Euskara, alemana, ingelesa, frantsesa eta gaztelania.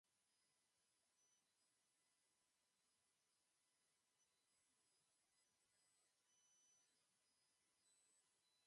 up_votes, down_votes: 0, 2